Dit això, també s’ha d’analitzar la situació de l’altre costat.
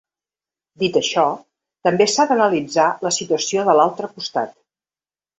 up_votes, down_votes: 3, 0